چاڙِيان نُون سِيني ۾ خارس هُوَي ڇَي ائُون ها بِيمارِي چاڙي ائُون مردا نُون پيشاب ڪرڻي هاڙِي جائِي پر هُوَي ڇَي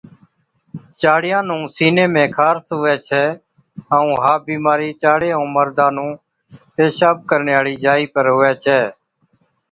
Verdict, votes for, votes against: accepted, 2, 0